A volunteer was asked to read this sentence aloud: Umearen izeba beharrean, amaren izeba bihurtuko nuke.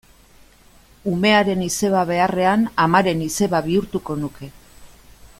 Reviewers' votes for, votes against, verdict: 2, 0, accepted